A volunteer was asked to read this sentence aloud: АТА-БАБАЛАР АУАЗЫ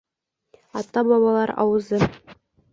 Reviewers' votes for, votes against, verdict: 0, 2, rejected